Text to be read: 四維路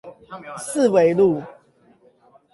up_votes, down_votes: 8, 0